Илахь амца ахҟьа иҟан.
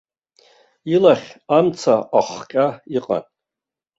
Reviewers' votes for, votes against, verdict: 2, 0, accepted